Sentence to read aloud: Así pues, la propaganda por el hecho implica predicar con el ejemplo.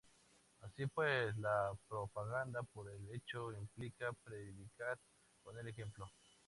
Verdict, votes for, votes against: accepted, 2, 0